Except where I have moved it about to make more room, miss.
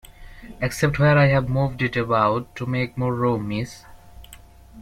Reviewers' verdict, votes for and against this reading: rejected, 1, 2